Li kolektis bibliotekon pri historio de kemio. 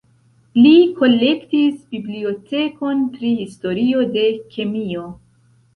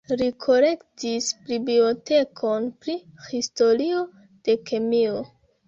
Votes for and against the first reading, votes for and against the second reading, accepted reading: 2, 0, 0, 2, first